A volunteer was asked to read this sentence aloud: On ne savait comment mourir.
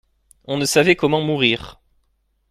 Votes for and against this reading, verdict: 2, 0, accepted